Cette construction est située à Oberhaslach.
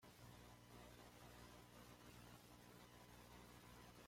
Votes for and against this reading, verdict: 0, 2, rejected